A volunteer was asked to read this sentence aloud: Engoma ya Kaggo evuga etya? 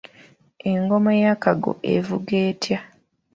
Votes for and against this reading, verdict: 0, 2, rejected